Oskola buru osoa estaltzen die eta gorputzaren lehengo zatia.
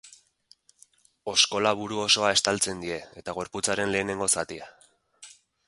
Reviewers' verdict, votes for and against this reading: rejected, 2, 4